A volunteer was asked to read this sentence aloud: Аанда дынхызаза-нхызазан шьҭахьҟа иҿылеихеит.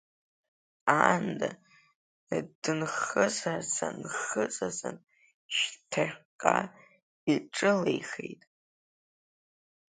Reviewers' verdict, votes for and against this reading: rejected, 1, 2